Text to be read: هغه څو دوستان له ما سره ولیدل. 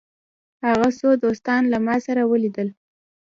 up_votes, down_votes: 2, 0